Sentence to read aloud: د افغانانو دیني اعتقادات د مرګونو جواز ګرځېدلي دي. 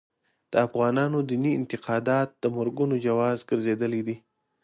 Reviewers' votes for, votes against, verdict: 2, 0, accepted